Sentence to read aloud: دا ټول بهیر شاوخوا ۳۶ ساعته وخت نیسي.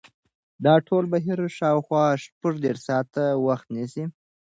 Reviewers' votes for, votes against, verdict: 0, 2, rejected